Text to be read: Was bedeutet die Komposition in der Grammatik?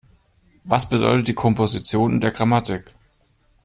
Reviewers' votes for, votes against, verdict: 2, 0, accepted